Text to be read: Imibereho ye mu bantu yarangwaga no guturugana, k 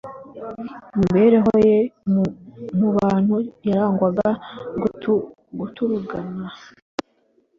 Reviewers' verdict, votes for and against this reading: rejected, 1, 2